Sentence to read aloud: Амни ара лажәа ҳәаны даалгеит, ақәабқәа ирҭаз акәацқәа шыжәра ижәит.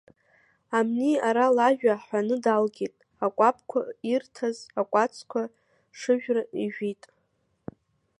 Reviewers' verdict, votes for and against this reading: accepted, 2, 1